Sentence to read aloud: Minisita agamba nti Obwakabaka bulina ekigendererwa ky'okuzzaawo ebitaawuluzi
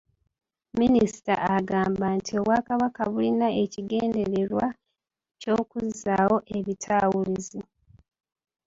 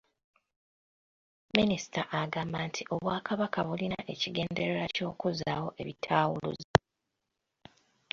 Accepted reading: second